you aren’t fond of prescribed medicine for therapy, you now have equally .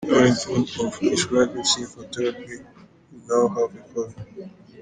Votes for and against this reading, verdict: 1, 2, rejected